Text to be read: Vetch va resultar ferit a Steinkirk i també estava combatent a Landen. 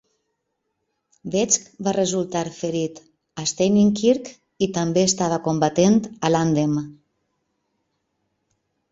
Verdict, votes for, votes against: accepted, 3, 2